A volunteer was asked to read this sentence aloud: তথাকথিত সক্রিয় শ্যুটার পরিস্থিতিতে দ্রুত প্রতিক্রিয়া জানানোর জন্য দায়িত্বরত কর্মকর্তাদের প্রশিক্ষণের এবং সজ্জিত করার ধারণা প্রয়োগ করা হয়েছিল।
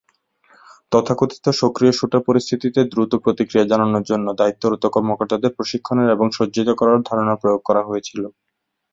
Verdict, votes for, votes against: accepted, 3, 0